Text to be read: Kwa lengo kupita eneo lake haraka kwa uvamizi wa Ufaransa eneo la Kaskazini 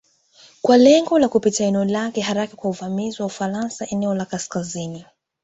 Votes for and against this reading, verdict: 3, 0, accepted